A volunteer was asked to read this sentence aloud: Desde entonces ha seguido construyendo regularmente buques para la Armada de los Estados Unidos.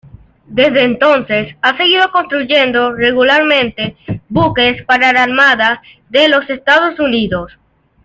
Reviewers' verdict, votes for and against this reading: accepted, 2, 0